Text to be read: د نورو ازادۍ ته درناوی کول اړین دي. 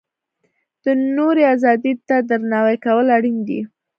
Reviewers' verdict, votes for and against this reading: accepted, 2, 0